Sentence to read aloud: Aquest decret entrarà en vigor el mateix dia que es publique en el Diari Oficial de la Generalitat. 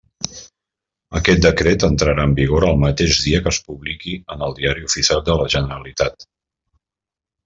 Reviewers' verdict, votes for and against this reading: rejected, 0, 2